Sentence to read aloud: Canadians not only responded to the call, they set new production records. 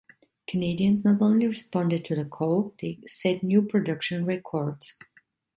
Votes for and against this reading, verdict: 0, 2, rejected